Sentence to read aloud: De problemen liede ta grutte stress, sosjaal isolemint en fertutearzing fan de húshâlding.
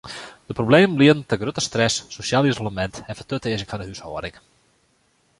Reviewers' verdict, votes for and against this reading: rejected, 0, 2